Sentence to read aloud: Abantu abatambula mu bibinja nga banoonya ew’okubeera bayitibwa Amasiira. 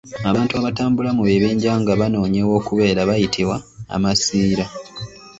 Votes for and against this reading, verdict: 2, 0, accepted